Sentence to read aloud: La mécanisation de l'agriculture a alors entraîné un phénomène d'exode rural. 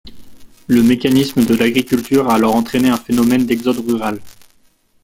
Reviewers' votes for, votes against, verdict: 1, 2, rejected